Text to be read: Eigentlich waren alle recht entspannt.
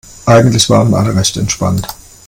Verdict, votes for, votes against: accepted, 2, 0